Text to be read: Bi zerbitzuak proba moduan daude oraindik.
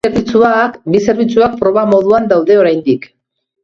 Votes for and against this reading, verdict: 0, 2, rejected